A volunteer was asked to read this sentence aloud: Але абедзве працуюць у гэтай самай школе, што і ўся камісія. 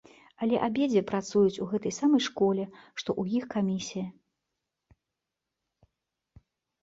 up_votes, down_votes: 0, 2